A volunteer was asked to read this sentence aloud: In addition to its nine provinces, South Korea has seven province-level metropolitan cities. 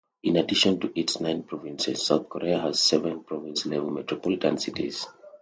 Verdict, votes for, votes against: accepted, 2, 0